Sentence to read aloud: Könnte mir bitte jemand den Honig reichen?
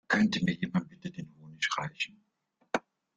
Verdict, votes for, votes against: rejected, 0, 2